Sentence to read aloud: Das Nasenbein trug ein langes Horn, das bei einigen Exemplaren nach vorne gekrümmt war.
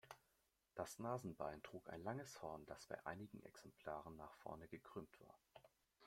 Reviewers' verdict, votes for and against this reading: accepted, 2, 1